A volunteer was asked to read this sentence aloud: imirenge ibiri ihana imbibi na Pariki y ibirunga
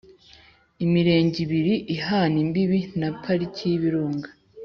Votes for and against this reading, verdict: 4, 0, accepted